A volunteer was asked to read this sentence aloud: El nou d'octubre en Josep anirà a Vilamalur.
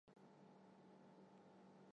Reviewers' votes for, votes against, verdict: 1, 2, rejected